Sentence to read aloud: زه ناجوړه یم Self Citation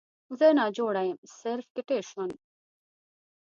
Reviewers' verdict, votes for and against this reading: rejected, 0, 2